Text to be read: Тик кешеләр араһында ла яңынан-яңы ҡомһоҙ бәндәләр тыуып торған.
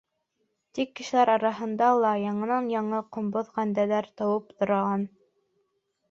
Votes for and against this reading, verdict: 0, 2, rejected